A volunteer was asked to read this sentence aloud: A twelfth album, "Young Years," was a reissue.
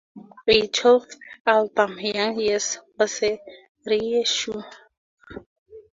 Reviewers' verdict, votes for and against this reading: accepted, 2, 0